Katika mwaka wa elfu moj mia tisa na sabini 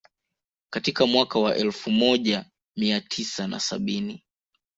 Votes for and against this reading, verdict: 1, 2, rejected